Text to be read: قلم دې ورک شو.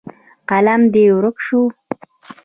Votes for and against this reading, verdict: 0, 2, rejected